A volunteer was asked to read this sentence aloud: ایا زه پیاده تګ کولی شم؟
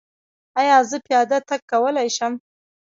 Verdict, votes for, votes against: rejected, 1, 2